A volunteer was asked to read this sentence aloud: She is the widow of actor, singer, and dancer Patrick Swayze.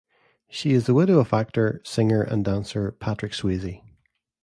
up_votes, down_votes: 2, 0